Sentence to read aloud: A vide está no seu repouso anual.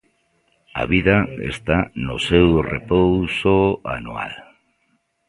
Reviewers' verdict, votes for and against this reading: rejected, 0, 2